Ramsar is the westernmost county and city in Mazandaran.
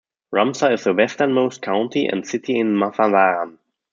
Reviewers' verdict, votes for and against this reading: rejected, 0, 2